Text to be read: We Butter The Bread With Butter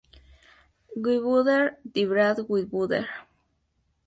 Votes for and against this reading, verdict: 2, 0, accepted